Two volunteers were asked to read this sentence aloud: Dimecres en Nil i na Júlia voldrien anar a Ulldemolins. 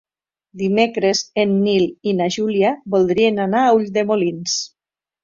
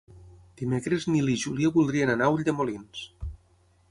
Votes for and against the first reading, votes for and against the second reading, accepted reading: 2, 0, 3, 6, first